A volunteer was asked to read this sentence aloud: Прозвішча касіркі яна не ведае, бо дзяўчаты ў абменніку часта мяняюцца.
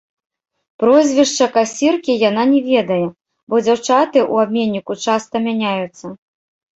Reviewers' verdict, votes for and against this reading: rejected, 1, 2